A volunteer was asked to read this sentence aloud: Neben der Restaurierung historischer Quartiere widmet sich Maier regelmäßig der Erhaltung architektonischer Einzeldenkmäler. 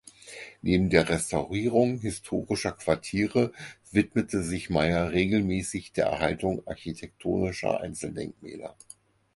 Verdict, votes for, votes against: rejected, 2, 4